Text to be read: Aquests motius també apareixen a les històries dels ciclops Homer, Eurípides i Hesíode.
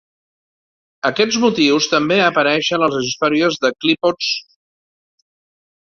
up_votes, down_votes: 1, 2